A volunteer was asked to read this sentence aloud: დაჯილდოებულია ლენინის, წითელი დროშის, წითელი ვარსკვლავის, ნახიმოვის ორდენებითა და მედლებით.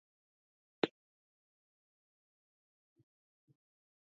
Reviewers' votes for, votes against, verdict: 0, 2, rejected